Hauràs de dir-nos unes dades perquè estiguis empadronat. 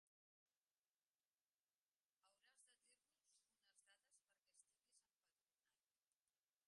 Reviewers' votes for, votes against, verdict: 0, 2, rejected